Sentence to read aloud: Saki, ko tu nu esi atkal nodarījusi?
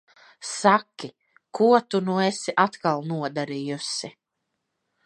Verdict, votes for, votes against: accepted, 2, 0